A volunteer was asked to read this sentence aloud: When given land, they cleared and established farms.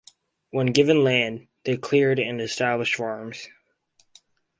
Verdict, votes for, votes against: accepted, 4, 0